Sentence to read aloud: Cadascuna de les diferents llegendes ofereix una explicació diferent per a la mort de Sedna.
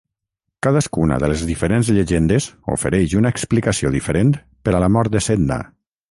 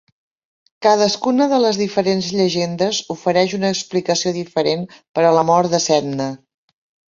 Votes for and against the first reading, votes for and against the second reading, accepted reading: 3, 3, 4, 0, second